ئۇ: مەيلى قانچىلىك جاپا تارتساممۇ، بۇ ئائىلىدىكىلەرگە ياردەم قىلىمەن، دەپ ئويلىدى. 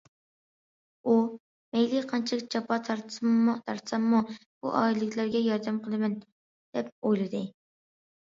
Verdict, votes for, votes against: rejected, 0, 2